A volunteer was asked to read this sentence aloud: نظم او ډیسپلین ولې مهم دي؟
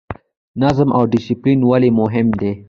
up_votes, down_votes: 1, 2